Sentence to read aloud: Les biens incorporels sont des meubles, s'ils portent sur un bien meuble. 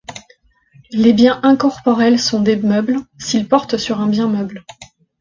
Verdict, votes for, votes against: accepted, 2, 0